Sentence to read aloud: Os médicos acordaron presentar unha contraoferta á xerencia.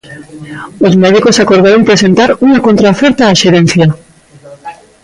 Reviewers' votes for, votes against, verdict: 2, 0, accepted